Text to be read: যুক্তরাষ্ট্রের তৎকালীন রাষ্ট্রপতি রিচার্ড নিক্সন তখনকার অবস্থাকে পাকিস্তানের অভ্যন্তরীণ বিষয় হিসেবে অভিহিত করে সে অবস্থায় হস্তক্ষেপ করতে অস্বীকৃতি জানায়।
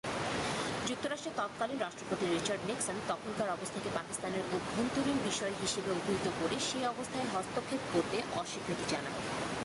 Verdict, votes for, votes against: accepted, 2, 0